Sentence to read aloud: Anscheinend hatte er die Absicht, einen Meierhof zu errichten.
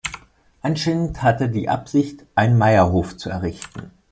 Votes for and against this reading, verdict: 1, 2, rejected